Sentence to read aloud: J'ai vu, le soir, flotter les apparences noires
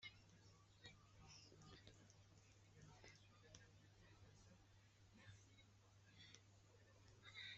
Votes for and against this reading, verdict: 0, 2, rejected